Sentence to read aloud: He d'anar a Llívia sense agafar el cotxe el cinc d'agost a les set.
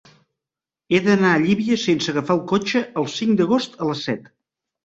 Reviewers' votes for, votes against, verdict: 3, 0, accepted